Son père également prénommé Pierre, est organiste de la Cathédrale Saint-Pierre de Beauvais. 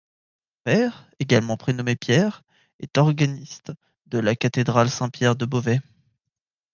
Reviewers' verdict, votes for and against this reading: rejected, 2, 3